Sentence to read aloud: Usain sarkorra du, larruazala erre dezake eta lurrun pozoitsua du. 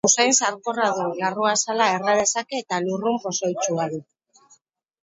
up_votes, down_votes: 0, 4